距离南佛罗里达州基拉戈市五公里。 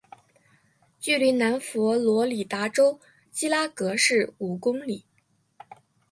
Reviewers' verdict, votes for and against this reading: accepted, 2, 0